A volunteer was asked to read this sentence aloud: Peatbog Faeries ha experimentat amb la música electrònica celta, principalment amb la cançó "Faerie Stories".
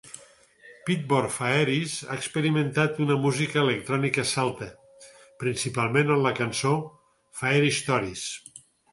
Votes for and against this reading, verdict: 2, 4, rejected